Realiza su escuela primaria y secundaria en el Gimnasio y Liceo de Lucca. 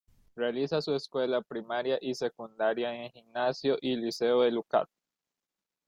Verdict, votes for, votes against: accepted, 2, 1